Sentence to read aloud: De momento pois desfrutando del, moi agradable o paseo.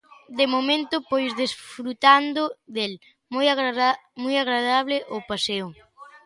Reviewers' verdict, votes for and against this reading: rejected, 0, 2